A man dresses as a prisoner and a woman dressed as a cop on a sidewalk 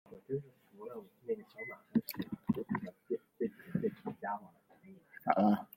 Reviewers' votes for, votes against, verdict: 0, 2, rejected